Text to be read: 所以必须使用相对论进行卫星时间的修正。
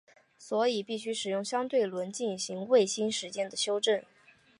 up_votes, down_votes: 5, 0